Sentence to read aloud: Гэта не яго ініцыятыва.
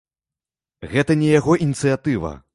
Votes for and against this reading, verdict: 1, 2, rejected